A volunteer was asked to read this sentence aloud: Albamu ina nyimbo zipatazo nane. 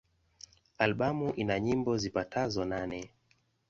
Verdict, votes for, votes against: accepted, 2, 0